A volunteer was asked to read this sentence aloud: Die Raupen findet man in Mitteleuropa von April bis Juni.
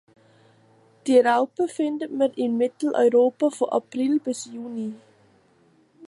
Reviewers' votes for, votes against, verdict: 1, 2, rejected